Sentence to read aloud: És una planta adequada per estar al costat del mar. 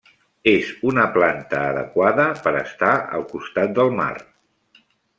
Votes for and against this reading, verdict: 3, 0, accepted